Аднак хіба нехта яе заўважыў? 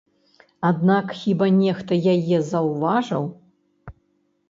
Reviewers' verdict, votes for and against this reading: rejected, 0, 2